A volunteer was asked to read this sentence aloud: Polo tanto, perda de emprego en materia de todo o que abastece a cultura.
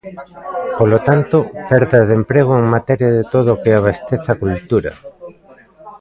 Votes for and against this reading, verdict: 0, 2, rejected